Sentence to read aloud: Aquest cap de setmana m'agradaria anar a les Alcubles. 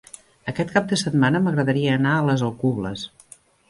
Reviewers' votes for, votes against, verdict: 1, 2, rejected